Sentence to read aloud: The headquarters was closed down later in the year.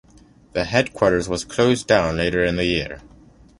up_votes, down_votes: 2, 0